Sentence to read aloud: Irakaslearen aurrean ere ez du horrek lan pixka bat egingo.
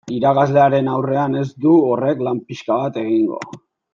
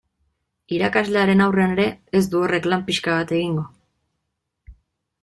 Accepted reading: second